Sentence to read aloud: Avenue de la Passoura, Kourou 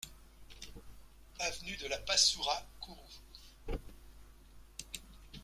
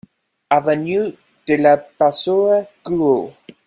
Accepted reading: first